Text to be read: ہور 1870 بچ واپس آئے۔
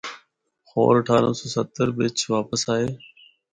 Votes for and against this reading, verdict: 0, 2, rejected